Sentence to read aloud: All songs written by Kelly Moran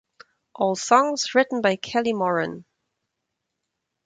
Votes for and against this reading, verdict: 4, 0, accepted